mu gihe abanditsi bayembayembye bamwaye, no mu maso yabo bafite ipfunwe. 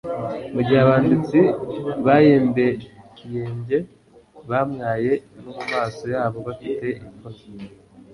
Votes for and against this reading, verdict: 2, 0, accepted